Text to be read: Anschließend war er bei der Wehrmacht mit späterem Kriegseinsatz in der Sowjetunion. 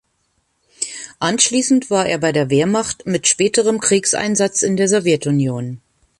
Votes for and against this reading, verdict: 2, 0, accepted